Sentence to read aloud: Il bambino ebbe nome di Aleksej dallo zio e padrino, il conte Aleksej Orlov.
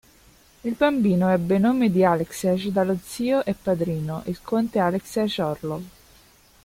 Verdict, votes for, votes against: rejected, 1, 2